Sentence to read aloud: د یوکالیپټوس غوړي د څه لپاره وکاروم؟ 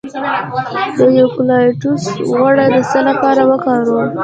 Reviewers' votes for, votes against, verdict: 0, 2, rejected